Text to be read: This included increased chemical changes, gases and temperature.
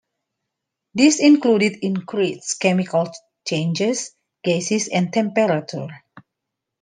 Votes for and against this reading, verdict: 0, 2, rejected